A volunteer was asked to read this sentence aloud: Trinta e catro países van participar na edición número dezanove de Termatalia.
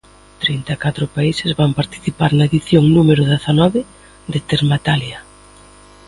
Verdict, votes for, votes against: accepted, 2, 0